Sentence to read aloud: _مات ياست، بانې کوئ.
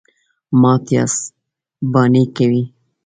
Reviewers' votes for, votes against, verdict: 2, 0, accepted